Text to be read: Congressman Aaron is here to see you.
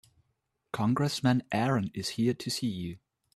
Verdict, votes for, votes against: accepted, 2, 0